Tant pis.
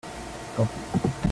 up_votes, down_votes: 1, 2